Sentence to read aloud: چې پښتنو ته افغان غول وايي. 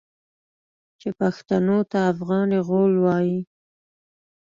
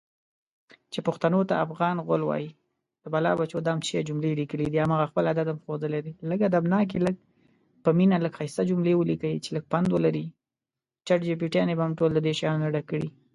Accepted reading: first